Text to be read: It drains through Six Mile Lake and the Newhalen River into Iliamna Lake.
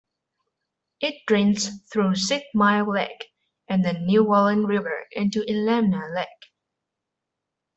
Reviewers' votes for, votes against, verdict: 0, 2, rejected